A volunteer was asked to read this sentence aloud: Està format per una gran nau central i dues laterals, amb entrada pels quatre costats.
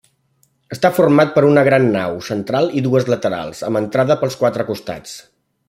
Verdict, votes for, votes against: accepted, 3, 0